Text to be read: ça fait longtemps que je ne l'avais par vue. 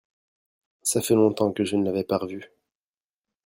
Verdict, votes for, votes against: rejected, 1, 2